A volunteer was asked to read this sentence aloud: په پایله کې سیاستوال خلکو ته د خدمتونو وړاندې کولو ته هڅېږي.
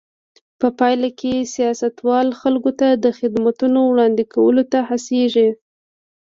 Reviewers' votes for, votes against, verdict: 2, 0, accepted